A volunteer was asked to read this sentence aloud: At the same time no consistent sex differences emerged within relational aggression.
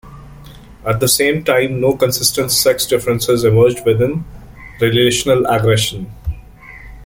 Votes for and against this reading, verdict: 2, 0, accepted